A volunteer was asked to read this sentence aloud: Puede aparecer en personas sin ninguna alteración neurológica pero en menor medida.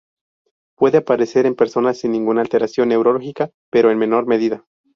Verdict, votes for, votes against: accepted, 2, 0